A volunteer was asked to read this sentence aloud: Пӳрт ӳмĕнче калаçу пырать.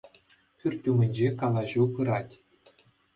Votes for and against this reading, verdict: 2, 0, accepted